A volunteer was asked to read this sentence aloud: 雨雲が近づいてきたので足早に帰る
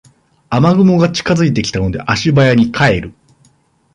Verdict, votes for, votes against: accepted, 2, 1